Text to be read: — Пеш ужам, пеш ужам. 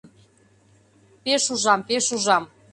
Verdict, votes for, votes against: accepted, 2, 0